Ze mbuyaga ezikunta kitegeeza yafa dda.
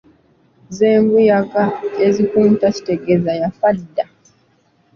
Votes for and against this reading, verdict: 2, 0, accepted